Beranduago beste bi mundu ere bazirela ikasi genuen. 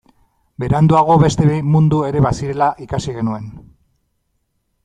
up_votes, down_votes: 2, 0